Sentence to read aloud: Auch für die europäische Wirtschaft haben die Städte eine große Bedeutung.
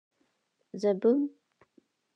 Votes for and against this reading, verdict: 0, 2, rejected